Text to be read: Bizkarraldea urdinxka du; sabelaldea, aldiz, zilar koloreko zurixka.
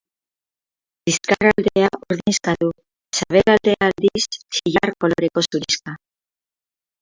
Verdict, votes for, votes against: rejected, 0, 4